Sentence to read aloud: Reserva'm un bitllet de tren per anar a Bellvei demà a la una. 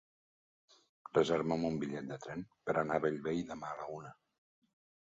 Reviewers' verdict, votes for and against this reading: rejected, 1, 2